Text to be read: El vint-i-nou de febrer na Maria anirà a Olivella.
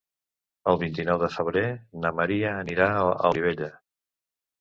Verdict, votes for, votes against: rejected, 1, 2